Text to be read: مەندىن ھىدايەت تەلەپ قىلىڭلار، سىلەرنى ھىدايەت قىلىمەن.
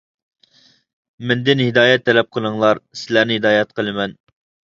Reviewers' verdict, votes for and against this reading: accepted, 2, 0